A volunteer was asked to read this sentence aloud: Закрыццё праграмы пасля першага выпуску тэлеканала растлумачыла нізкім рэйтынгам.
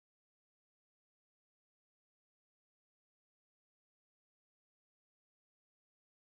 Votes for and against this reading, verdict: 0, 2, rejected